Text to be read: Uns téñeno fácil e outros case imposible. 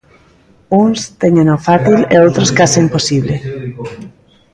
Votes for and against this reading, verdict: 0, 2, rejected